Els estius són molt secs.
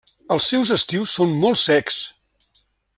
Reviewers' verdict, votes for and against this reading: rejected, 0, 2